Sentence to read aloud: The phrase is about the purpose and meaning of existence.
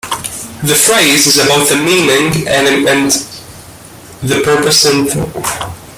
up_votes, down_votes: 0, 2